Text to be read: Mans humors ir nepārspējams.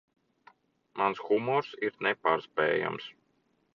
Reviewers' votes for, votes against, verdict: 2, 0, accepted